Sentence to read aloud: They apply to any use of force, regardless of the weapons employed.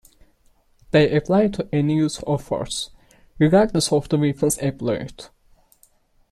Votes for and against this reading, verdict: 2, 1, accepted